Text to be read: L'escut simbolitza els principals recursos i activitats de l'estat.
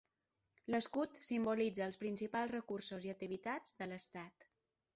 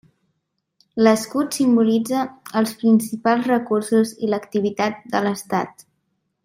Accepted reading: first